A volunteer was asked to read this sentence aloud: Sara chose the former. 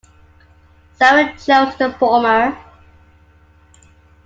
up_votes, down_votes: 2, 0